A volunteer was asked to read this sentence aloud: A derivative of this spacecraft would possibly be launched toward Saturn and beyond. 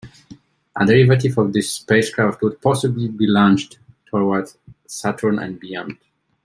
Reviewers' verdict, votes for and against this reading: rejected, 0, 2